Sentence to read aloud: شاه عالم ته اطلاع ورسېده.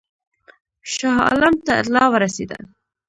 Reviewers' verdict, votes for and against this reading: rejected, 0, 2